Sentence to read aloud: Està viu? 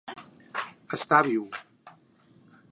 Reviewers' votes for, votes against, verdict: 2, 4, rejected